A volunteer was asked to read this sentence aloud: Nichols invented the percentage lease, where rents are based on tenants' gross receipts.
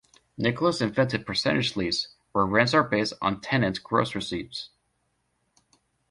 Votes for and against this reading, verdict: 0, 2, rejected